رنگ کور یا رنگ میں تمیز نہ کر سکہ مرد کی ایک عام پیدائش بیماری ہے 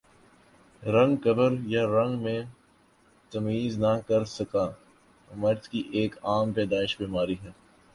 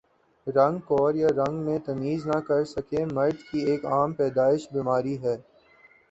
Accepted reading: second